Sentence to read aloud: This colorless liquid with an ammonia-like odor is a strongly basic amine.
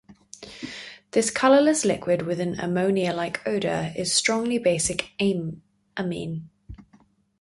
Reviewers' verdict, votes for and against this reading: rejected, 2, 4